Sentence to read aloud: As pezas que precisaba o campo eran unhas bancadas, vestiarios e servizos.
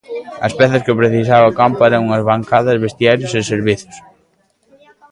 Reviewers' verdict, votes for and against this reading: rejected, 1, 2